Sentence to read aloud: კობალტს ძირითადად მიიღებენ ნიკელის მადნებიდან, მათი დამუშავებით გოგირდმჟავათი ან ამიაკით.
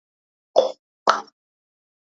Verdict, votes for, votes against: rejected, 0, 2